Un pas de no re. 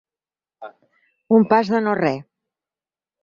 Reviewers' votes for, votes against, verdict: 6, 0, accepted